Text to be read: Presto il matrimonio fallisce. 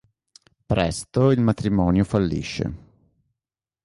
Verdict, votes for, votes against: accepted, 3, 0